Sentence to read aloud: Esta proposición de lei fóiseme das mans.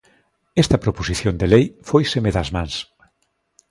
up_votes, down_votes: 2, 0